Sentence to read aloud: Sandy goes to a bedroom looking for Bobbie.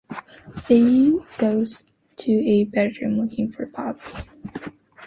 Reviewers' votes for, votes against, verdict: 2, 1, accepted